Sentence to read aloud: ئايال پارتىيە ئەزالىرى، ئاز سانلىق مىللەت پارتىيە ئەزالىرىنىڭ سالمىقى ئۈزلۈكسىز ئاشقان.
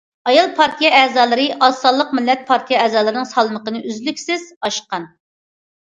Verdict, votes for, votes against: rejected, 0, 2